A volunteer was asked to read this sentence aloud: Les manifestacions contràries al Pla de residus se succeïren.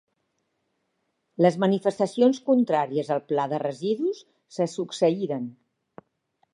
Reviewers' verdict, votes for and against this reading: accepted, 2, 0